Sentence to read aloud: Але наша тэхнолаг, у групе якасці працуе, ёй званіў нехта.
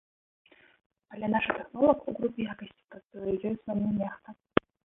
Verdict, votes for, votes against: rejected, 1, 2